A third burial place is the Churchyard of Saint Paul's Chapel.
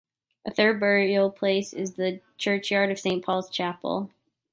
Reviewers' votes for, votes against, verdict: 2, 0, accepted